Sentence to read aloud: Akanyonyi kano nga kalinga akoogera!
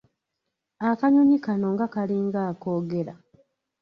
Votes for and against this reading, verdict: 2, 1, accepted